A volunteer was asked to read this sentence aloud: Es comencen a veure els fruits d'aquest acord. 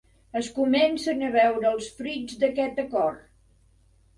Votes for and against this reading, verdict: 4, 0, accepted